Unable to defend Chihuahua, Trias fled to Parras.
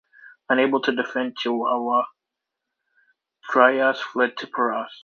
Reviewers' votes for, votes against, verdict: 2, 1, accepted